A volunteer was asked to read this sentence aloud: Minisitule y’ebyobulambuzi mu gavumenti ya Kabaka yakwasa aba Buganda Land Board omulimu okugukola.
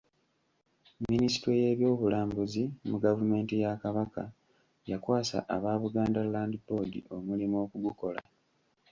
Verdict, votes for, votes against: rejected, 1, 2